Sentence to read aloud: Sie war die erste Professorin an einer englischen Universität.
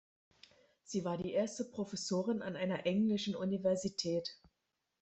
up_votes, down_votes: 2, 0